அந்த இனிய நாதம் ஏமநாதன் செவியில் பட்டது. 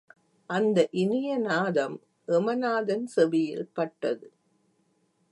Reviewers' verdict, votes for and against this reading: rejected, 1, 2